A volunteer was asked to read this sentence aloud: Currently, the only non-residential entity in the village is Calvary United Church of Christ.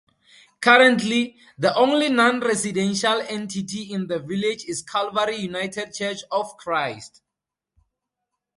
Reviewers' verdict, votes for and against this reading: accepted, 4, 0